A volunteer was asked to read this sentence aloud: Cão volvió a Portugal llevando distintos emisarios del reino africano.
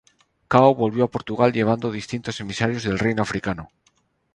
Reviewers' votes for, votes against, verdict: 2, 0, accepted